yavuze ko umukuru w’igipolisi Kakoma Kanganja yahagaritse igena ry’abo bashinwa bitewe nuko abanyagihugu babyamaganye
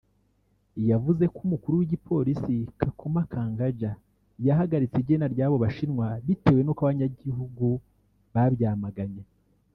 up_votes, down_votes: 0, 2